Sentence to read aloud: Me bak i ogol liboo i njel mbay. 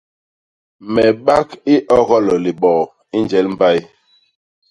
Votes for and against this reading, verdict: 2, 0, accepted